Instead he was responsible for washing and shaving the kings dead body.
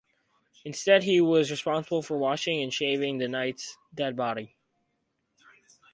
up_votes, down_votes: 0, 4